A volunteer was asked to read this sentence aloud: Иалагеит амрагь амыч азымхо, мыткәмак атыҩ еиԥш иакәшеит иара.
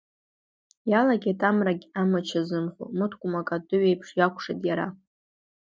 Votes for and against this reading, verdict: 2, 0, accepted